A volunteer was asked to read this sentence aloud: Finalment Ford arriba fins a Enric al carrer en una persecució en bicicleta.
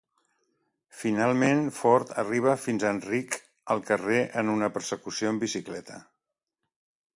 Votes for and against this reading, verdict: 3, 0, accepted